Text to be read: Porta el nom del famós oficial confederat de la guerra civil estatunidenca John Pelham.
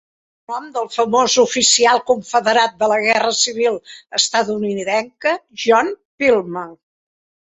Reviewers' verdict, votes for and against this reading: rejected, 1, 3